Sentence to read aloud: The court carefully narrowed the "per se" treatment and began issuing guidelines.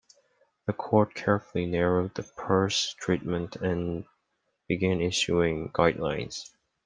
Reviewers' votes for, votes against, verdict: 1, 2, rejected